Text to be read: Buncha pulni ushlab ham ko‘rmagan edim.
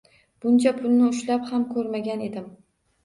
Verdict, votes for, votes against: accepted, 2, 1